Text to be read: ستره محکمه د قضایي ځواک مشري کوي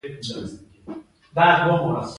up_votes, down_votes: 0, 2